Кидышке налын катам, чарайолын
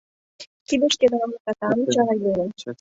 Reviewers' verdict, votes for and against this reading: rejected, 1, 2